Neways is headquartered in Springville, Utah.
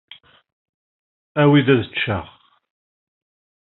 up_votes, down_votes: 1, 2